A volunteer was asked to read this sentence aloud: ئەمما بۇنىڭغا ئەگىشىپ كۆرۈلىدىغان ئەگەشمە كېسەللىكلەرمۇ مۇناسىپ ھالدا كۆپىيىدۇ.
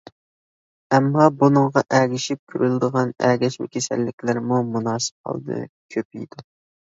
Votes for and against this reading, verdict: 2, 1, accepted